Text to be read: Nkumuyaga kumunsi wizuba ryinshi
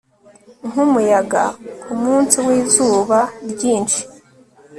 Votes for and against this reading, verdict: 2, 0, accepted